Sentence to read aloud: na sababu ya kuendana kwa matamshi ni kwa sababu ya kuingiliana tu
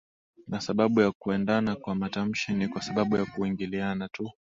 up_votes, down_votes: 2, 0